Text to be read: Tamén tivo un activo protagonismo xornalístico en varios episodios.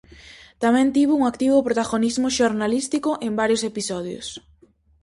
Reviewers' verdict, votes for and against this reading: accepted, 4, 0